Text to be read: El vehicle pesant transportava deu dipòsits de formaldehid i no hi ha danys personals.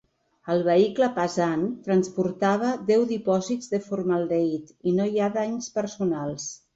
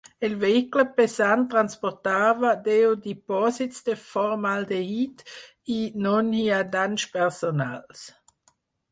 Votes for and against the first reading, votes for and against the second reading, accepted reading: 2, 0, 0, 4, first